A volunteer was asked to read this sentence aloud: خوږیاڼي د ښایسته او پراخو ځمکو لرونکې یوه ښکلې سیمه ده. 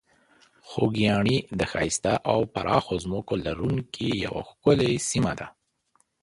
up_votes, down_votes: 3, 0